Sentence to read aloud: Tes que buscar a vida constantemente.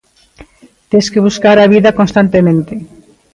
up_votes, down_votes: 2, 0